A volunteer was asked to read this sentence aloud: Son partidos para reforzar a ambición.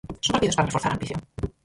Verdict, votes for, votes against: rejected, 0, 4